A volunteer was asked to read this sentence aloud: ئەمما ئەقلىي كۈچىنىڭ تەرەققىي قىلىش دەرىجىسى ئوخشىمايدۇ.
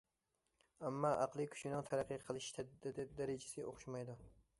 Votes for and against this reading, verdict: 0, 2, rejected